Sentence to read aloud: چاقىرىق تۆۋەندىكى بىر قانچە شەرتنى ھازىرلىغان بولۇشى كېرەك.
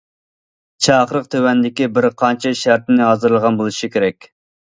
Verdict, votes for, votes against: accepted, 2, 0